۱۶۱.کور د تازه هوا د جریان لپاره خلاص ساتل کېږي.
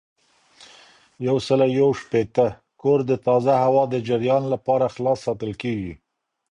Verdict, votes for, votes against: rejected, 0, 2